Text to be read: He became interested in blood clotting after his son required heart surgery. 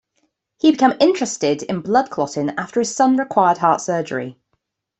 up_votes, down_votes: 0, 2